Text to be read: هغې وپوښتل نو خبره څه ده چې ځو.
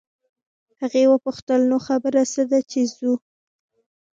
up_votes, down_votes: 1, 2